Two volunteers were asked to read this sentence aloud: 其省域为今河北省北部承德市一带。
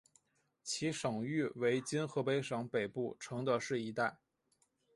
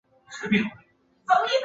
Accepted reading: first